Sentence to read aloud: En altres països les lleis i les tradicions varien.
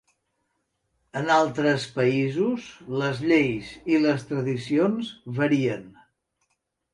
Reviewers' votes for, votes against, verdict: 3, 0, accepted